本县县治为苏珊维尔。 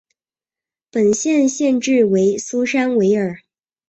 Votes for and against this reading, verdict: 2, 0, accepted